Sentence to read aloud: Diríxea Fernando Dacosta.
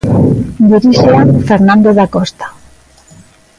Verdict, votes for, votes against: rejected, 0, 2